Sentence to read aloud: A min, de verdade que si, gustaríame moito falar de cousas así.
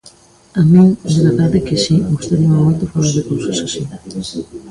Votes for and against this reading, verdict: 1, 2, rejected